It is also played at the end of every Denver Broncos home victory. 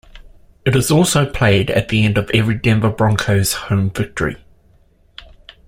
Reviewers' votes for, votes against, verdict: 2, 0, accepted